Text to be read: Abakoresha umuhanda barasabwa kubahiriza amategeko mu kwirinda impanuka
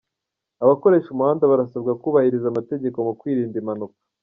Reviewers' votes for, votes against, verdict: 1, 2, rejected